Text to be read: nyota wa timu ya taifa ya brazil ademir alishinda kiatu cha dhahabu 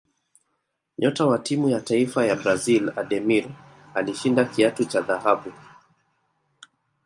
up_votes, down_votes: 2, 0